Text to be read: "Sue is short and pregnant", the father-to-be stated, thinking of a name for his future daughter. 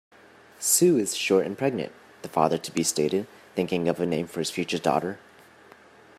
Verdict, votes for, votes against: accepted, 2, 0